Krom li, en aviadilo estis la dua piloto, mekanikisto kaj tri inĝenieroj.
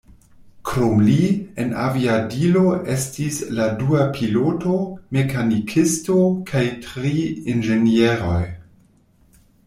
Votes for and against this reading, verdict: 2, 0, accepted